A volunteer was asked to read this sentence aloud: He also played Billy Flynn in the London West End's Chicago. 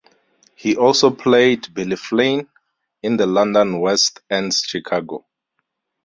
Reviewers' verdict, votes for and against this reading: rejected, 2, 2